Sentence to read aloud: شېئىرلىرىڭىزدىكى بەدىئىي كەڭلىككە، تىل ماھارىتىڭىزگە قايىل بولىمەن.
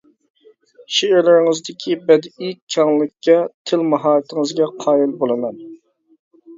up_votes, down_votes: 0, 2